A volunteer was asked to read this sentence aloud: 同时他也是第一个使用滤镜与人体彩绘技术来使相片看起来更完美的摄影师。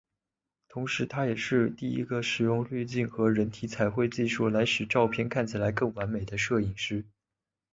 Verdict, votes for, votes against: accepted, 2, 1